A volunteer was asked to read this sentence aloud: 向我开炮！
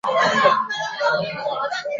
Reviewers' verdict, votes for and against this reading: rejected, 0, 4